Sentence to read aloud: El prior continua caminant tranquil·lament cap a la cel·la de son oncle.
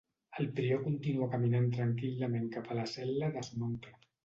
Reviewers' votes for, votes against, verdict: 2, 0, accepted